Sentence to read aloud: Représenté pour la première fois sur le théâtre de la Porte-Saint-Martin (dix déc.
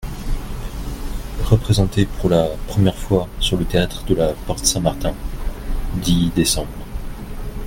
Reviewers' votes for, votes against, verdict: 2, 1, accepted